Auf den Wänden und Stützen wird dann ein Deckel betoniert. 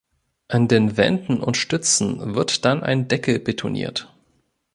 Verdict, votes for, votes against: rejected, 1, 2